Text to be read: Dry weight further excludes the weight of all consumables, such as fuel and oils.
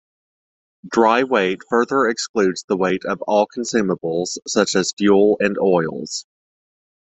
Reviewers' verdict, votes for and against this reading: accepted, 2, 0